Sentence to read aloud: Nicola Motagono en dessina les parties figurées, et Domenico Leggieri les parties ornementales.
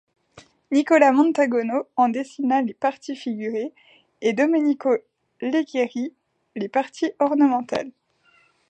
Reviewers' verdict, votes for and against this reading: rejected, 0, 2